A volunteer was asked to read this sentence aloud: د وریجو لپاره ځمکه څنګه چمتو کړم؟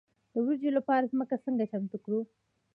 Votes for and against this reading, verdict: 1, 2, rejected